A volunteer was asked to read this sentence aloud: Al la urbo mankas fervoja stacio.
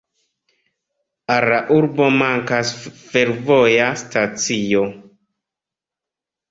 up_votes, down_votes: 2, 0